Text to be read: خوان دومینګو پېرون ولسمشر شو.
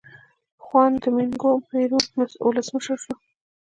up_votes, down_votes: 1, 2